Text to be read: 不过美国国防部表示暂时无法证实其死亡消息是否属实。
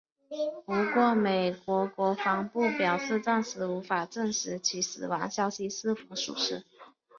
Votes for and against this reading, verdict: 2, 1, accepted